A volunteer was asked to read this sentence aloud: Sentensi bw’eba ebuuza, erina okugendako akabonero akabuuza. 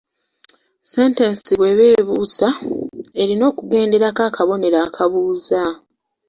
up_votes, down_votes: 2, 0